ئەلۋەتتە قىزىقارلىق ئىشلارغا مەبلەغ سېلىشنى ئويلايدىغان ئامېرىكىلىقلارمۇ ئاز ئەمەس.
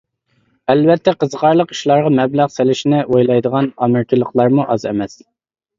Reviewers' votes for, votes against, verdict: 2, 0, accepted